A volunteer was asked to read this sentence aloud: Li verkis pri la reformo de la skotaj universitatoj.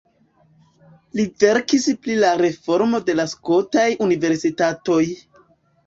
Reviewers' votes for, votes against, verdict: 0, 2, rejected